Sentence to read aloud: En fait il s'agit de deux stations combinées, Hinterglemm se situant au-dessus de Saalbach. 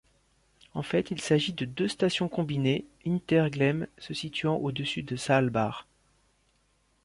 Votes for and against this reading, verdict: 2, 1, accepted